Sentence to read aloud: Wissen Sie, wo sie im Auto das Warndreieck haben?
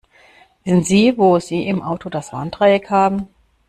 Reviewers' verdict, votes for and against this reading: rejected, 0, 2